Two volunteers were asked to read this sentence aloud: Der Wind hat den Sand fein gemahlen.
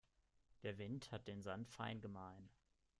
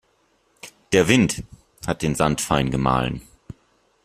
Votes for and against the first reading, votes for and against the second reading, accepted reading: 1, 2, 2, 0, second